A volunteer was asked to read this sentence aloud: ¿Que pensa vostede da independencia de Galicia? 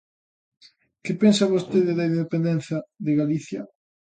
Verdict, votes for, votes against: rejected, 0, 2